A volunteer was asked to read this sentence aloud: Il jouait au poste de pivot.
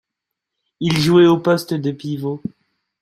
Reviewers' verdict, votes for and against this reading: accepted, 2, 0